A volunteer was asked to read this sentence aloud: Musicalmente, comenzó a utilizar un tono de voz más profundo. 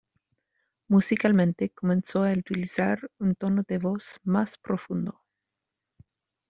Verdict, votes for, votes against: accepted, 2, 1